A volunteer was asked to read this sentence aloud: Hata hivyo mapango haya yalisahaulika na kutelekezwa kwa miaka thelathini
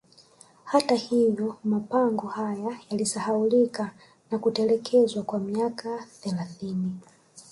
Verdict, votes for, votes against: rejected, 0, 2